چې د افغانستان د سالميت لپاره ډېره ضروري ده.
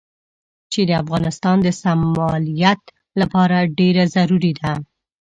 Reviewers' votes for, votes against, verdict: 1, 2, rejected